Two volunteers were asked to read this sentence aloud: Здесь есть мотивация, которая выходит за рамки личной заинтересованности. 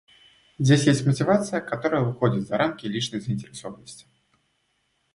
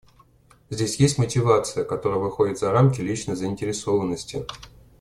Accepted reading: first